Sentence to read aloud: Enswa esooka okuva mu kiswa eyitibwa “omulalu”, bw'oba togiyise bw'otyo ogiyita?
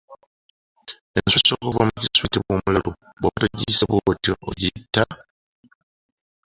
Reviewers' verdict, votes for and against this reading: rejected, 1, 2